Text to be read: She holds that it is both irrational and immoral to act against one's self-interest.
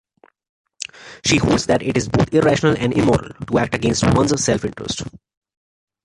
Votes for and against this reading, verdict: 2, 1, accepted